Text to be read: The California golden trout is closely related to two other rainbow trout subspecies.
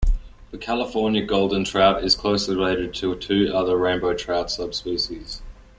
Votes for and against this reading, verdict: 2, 1, accepted